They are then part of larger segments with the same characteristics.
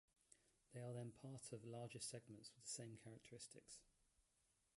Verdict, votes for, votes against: rejected, 2, 3